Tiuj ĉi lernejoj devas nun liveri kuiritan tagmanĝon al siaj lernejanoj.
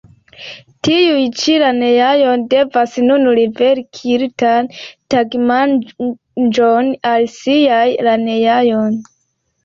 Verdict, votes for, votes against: rejected, 1, 2